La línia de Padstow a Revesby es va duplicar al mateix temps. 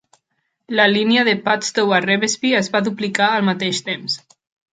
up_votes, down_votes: 3, 0